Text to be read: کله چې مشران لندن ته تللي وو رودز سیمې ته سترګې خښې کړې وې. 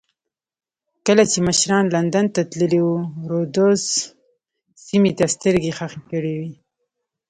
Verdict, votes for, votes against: accepted, 2, 0